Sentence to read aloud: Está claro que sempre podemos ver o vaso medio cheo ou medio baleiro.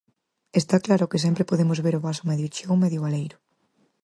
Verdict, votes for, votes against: accepted, 4, 0